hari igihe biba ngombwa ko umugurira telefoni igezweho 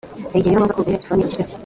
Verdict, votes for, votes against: rejected, 1, 2